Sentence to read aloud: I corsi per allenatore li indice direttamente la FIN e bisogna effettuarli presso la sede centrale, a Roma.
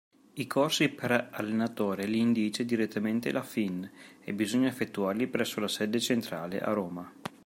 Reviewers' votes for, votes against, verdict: 2, 0, accepted